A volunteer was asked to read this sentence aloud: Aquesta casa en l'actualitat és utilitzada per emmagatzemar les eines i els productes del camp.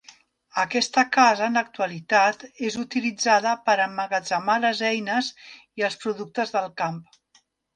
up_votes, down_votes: 1, 2